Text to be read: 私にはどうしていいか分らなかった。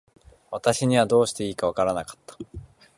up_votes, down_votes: 2, 1